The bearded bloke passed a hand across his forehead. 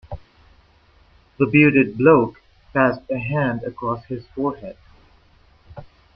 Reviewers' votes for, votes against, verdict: 2, 0, accepted